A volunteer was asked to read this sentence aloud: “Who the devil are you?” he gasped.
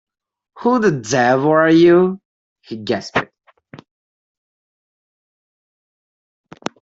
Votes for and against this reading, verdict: 1, 2, rejected